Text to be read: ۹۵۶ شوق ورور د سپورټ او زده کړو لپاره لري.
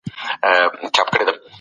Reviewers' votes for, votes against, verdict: 0, 2, rejected